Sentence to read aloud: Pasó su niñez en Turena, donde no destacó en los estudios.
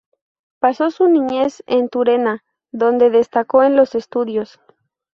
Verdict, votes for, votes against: rejected, 0, 2